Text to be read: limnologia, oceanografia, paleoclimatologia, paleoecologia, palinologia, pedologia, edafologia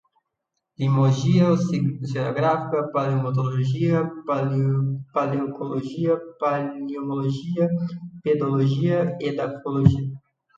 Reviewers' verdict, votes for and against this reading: rejected, 0, 2